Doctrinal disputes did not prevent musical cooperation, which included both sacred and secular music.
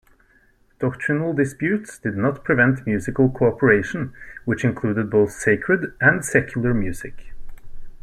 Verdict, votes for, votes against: accepted, 2, 0